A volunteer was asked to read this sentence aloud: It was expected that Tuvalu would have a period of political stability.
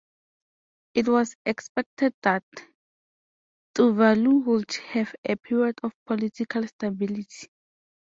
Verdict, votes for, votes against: accepted, 2, 0